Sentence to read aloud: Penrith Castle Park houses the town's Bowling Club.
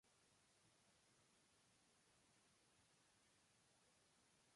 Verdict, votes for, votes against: rejected, 0, 2